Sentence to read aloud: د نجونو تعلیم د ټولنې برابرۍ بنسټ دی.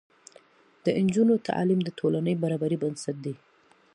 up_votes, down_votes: 2, 0